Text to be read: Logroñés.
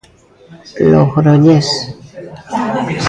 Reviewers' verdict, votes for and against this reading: rejected, 1, 2